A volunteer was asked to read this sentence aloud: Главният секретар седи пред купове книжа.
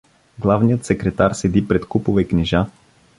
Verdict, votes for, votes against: accepted, 2, 0